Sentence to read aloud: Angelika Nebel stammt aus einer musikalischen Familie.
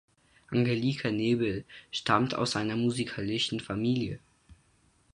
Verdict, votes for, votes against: rejected, 2, 4